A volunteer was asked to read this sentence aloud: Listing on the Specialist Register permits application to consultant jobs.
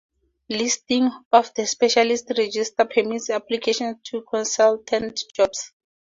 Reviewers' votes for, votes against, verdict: 4, 2, accepted